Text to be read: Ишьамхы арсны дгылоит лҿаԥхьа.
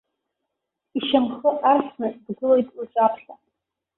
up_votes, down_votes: 0, 2